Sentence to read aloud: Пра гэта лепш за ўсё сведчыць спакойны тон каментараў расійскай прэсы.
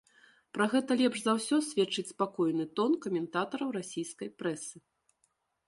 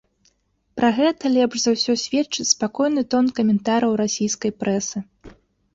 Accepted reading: second